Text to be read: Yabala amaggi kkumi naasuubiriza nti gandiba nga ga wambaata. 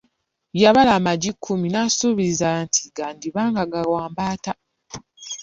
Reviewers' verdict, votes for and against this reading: rejected, 1, 2